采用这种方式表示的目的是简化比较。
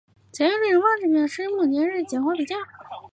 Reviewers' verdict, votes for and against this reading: rejected, 4, 5